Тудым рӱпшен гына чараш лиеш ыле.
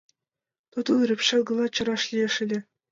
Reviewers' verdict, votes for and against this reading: accepted, 2, 0